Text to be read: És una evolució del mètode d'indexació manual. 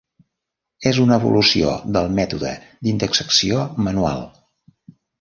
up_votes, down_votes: 1, 2